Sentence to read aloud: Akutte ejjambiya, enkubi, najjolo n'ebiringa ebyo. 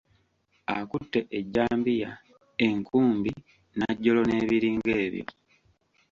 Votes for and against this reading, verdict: 2, 0, accepted